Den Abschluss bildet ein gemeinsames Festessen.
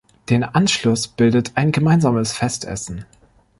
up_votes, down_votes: 0, 2